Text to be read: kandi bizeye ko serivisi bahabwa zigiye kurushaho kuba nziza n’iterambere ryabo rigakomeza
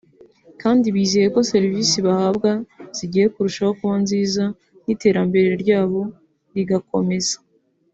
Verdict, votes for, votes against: accepted, 3, 0